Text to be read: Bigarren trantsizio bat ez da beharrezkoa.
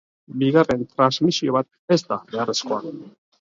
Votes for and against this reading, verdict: 1, 2, rejected